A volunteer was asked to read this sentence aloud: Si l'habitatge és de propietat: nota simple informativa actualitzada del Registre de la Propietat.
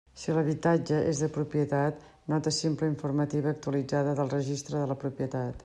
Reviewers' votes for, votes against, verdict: 2, 0, accepted